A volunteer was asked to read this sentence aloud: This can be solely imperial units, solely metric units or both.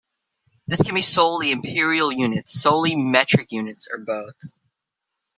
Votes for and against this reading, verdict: 0, 2, rejected